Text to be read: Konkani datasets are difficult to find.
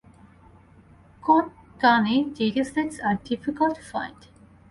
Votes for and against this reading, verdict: 2, 0, accepted